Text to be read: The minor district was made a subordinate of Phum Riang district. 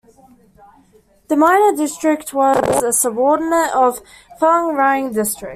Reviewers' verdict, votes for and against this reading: rejected, 1, 2